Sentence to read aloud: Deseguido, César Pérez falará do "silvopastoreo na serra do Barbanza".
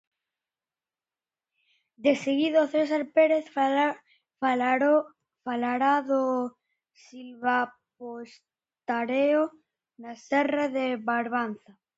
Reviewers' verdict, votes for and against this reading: rejected, 0, 2